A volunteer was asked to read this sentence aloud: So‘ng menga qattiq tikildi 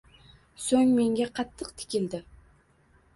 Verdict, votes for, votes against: accepted, 2, 0